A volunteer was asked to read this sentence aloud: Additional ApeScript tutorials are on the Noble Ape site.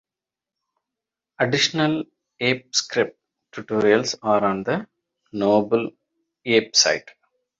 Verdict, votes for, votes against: accepted, 2, 0